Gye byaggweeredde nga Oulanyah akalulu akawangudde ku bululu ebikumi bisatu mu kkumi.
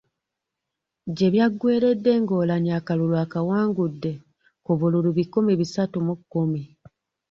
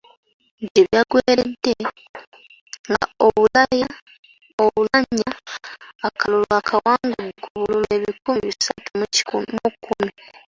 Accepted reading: first